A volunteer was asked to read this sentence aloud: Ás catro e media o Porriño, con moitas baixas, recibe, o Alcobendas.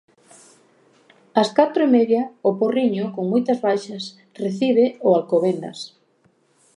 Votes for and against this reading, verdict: 2, 0, accepted